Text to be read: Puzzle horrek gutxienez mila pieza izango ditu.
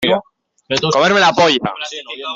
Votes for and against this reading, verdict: 0, 2, rejected